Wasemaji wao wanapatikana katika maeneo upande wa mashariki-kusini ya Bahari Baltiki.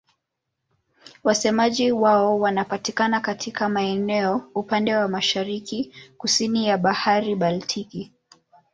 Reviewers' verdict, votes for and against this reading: rejected, 0, 2